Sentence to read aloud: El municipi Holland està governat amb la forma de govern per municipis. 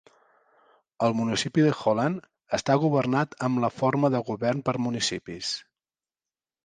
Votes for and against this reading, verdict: 1, 2, rejected